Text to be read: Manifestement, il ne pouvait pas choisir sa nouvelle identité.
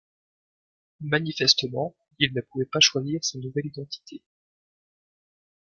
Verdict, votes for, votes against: accepted, 2, 0